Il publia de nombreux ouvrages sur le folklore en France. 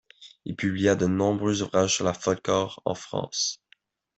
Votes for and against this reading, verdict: 1, 2, rejected